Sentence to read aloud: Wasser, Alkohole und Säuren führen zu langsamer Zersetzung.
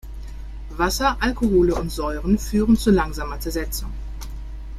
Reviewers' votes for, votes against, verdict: 2, 0, accepted